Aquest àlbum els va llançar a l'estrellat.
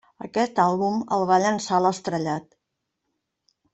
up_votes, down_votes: 1, 2